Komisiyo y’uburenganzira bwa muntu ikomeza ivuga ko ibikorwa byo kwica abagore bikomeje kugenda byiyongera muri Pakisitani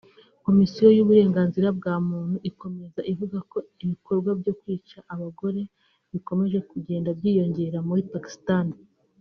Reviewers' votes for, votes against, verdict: 0, 2, rejected